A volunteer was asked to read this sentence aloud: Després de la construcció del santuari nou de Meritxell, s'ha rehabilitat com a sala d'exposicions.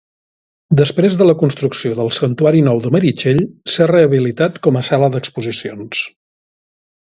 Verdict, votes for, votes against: accepted, 2, 0